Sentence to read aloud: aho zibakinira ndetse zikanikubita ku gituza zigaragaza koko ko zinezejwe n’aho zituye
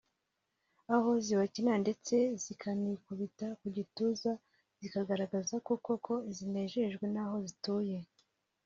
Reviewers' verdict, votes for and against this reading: rejected, 0, 2